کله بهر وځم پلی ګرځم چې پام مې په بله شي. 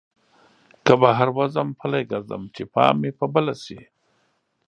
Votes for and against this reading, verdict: 0, 2, rejected